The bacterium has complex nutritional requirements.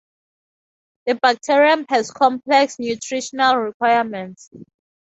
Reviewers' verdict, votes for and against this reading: accepted, 2, 0